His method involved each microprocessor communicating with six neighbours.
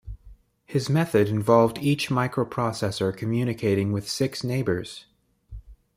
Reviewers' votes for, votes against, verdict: 2, 0, accepted